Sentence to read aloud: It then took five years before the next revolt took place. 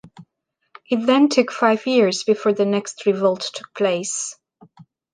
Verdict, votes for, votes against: accepted, 2, 0